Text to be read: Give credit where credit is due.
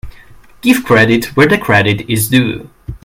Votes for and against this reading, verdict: 0, 2, rejected